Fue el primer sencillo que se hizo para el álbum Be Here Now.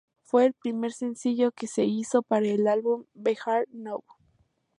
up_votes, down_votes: 2, 0